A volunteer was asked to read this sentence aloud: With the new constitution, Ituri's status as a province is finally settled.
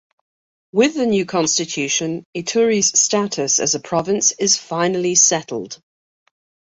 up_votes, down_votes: 2, 0